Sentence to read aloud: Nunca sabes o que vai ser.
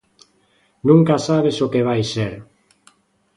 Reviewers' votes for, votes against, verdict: 2, 0, accepted